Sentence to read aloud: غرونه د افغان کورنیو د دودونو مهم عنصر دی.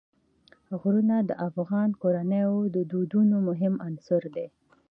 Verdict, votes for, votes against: accepted, 2, 0